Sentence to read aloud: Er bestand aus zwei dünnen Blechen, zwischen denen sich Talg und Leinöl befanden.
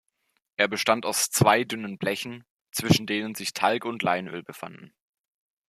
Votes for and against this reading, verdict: 2, 0, accepted